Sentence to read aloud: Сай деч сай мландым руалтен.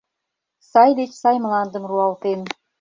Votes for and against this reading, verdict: 2, 0, accepted